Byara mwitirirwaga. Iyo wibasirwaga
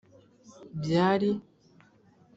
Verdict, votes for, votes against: rejected, 1, 2